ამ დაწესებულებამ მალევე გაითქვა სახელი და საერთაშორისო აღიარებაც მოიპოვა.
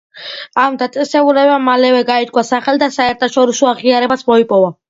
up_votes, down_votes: 2, 0